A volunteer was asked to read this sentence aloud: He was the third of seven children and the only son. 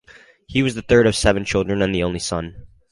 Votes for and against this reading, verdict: 2, 2, rejected